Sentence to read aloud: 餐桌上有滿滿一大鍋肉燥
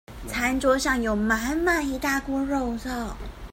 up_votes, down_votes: 2, 0